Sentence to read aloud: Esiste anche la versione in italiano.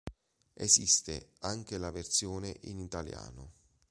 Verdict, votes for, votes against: accepted, 2, 0